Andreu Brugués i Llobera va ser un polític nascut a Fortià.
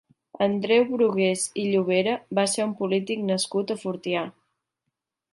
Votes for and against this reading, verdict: 2, 0, accepted